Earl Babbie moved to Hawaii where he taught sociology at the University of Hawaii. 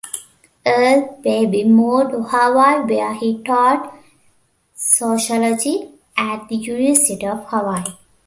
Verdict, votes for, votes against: rejected, 0, 2